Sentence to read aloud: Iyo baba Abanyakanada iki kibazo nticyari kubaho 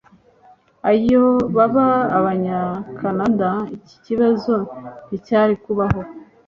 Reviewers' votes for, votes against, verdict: 1, 2, rejected